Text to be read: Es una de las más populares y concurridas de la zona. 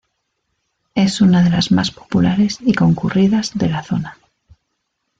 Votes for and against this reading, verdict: 2, 0, accepted